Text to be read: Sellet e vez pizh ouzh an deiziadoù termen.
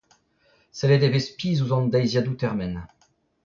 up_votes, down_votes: 0, 2